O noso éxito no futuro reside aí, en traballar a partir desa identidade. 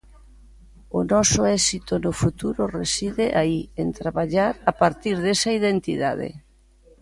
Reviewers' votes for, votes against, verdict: 2, 0, accepted